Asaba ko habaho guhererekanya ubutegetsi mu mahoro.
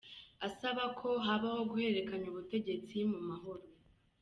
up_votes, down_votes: 2, 0